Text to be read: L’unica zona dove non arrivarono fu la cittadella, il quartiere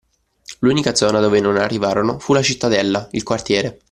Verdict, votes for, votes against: accepted, 2, 0